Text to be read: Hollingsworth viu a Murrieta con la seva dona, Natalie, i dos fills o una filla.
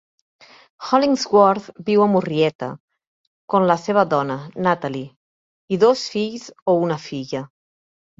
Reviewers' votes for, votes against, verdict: 2, 1, accepted